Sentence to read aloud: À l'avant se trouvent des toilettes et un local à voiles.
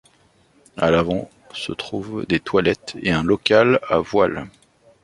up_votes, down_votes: 2, 0